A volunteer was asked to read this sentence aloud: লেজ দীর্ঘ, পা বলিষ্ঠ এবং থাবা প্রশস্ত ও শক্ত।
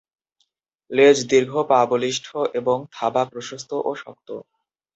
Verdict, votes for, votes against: accepted, 2, 0